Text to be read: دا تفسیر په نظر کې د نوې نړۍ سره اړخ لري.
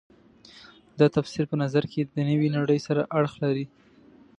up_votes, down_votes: 2, 0